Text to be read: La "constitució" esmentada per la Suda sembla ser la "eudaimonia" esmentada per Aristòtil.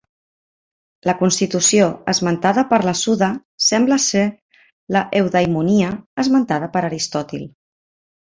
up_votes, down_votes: 3, 0